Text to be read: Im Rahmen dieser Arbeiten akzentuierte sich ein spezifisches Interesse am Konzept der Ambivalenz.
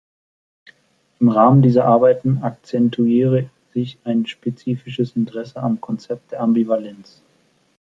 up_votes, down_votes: 0, 2